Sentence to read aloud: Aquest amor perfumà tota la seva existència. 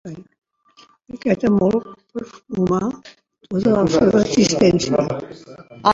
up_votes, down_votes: 1, 2